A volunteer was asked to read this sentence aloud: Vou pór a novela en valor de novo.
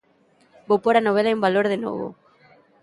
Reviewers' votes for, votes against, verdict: 2, 1, accepted